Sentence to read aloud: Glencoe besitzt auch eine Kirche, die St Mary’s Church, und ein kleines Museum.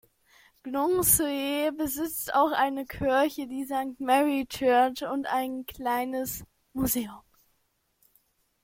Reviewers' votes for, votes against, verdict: 1, 2, rejected